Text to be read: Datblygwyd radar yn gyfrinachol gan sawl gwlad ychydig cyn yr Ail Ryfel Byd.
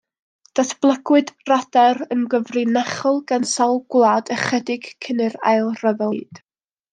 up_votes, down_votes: 1, 2